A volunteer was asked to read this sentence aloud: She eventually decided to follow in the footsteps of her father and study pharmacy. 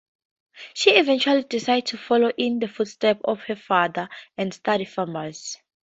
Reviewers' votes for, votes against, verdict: 2, 4, rejected